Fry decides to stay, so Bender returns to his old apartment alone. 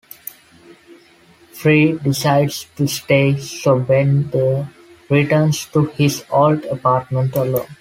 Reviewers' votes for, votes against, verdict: 2, 0, accepted